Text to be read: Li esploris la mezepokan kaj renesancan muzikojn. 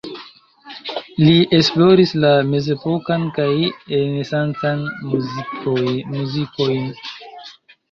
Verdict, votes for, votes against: rejected, 1, 2